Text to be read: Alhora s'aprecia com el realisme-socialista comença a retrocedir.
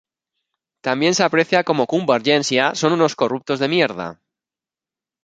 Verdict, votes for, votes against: rejected, 0, 3